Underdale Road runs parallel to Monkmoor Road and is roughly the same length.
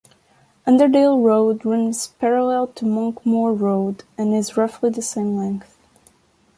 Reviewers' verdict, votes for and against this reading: accepted, 2, 0